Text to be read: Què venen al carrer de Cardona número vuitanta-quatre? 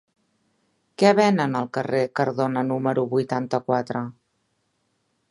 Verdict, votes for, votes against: rejected, 0, 2